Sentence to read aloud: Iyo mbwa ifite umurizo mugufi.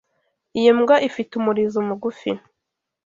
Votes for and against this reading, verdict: 2, 0, accepted